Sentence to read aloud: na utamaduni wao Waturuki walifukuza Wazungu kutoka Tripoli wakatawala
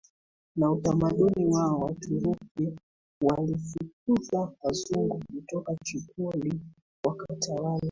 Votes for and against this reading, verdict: 2, 1, accepted